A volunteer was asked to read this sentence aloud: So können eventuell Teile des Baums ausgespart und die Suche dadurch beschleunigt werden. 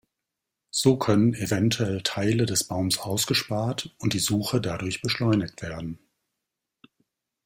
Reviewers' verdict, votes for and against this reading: accepted, 2, 0